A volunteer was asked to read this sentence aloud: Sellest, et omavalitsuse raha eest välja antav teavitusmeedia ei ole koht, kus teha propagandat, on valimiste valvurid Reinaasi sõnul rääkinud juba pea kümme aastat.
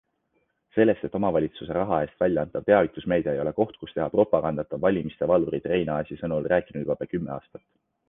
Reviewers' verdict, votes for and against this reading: accepted, 2, 0